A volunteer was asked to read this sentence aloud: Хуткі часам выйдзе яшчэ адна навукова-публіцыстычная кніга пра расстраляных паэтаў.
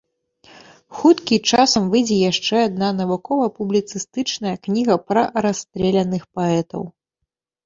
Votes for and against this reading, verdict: 0, 3, rejected